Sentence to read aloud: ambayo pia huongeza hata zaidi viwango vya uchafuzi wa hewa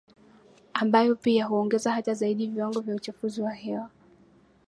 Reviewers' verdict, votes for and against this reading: accepted, 2, 1